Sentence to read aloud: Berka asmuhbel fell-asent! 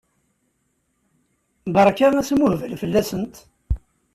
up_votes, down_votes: 2, 0